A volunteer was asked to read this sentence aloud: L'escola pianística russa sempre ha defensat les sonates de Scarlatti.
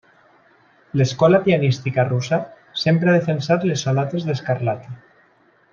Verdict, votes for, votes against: accepted, 2, 0